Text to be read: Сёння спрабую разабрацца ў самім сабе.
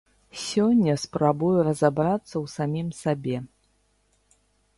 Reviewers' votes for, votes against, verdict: 2, 0, accepted